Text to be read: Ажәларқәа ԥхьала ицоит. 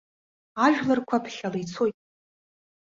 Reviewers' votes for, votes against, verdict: 1, 2, rejected